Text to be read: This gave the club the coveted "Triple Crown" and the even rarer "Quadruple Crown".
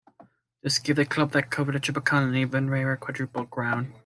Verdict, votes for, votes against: rejected, 1, 2